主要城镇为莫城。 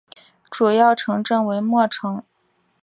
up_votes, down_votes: 2, 0